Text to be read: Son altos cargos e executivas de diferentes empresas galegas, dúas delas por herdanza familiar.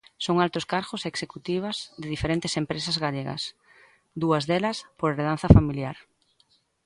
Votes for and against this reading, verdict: 0, 3, rejected